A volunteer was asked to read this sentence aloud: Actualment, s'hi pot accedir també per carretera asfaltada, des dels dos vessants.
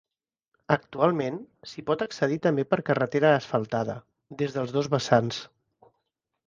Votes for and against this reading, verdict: 3, 0, accepted